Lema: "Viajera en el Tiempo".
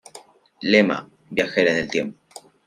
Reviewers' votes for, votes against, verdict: 2, 0, accepted